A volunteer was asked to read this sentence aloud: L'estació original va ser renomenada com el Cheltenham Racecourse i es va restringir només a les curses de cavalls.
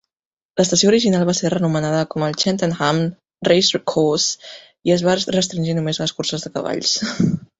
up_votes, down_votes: 2, 1